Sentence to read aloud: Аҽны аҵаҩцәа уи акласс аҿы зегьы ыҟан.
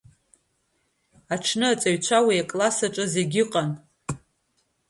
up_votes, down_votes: 3, 2